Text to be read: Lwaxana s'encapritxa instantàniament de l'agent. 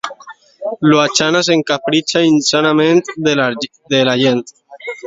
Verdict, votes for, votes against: rejected, 0, 2